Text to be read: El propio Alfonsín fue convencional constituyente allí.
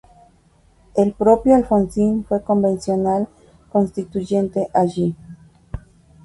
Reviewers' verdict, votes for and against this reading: rejected, 2, 2